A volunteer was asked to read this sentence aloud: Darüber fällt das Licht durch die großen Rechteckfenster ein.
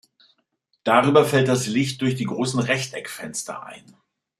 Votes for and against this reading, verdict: 2, 0, accepted